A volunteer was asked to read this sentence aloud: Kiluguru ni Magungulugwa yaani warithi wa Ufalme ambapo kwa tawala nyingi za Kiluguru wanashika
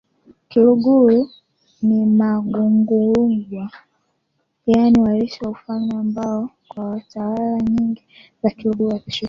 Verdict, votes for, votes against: rejected, 0, 2